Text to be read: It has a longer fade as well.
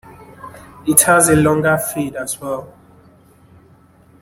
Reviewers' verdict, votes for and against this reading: accepted, 2, 0